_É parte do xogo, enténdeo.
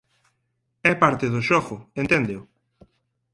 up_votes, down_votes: 4, 0